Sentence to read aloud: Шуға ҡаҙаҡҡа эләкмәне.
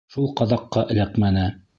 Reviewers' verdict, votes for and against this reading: rejected, 1, 2